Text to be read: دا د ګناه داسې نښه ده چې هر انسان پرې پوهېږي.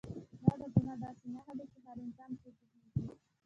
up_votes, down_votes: 1, 2